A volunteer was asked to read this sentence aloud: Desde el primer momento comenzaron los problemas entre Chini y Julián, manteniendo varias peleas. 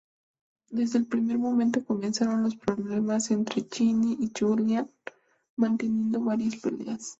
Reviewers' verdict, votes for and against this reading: rejected, 0, 2